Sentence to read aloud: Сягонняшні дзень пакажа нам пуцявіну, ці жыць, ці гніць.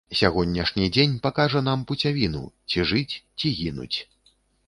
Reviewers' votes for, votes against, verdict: 1, 2, rejected